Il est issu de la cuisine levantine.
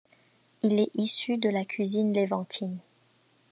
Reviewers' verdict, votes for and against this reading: accepted, 2, 0